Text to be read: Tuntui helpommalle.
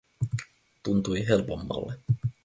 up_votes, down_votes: 4, 0